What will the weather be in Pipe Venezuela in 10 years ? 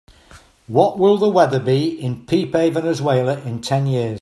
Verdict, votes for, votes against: rejected, 0, 2